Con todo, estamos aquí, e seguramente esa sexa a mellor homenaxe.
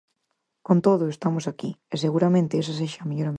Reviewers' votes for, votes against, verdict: 0, 4, rejected